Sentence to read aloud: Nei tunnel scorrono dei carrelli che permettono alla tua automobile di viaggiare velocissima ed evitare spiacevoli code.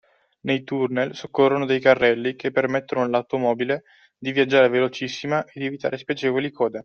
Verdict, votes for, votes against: rejected, 1, 2